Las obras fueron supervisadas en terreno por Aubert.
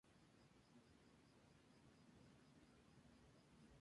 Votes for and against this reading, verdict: 2, 0, accepted